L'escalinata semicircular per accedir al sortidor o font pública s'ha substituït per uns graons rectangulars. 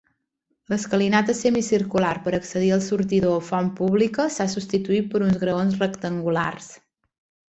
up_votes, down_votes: 2, 0